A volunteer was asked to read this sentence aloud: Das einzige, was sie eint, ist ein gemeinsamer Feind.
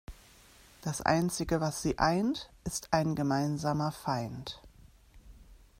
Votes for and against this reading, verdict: 2, 0, accepted